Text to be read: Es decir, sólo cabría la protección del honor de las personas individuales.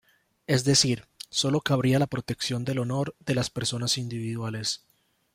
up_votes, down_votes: 2, 0